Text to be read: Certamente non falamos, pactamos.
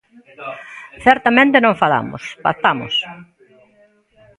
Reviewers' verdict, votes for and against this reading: rejected, 0, 2